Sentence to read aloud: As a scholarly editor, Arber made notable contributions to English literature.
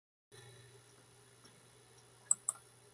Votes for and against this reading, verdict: 0, 2, rejected